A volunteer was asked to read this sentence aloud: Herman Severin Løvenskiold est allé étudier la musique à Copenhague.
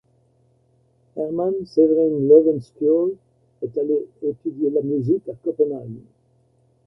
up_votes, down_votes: 0, 2